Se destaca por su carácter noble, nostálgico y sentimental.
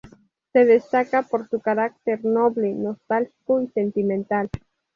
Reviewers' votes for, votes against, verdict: 2, 2, rejected